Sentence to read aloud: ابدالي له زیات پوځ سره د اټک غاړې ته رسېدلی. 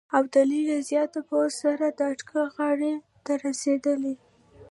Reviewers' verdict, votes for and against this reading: accepted, 2, 0